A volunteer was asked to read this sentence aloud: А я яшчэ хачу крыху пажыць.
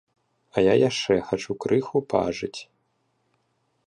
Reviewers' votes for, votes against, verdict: 1, 2, rejected